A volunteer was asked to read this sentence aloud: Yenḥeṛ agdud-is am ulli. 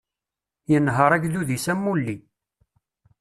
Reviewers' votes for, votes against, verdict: 1, 2, rejected